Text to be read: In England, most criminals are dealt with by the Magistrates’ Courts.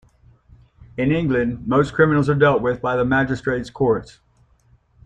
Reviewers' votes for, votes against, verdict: 2, 0, accepted